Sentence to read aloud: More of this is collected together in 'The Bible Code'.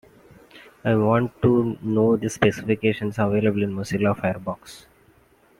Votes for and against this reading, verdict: 1, 2, rejected